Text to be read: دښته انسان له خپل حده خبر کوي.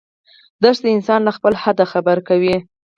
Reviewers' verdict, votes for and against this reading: rejected, 0, 4